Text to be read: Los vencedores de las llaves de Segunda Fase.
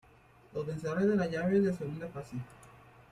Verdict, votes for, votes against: accepted, 2, 0